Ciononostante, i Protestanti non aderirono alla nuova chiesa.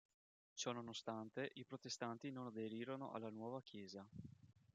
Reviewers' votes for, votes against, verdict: 2, 1, accepted